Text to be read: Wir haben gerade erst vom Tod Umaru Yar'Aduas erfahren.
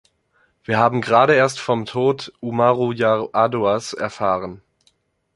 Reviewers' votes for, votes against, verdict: 3, 1, accepted